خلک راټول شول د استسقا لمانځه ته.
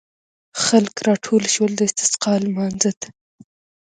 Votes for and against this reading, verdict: 1, 2, rejected